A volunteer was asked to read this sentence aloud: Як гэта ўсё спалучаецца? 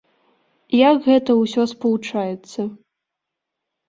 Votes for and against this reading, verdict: 3, 0, accepted